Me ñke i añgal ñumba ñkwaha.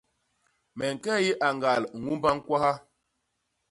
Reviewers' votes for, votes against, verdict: 2, 0, accepted